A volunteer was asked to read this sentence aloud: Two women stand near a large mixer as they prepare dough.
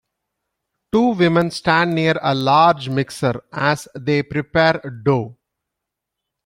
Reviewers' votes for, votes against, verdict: 2, 0, accepted